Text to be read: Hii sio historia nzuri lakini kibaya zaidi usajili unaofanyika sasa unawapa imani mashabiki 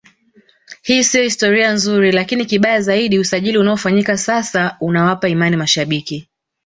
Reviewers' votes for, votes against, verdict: 2, 1, accepted